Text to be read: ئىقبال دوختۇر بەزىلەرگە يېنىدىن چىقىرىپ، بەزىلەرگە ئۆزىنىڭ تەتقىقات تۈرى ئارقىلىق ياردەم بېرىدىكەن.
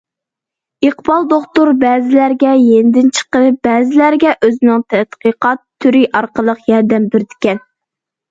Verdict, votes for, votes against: accepted, 2, 0